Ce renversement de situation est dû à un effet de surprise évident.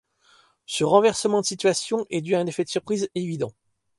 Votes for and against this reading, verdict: 2, 0, accepted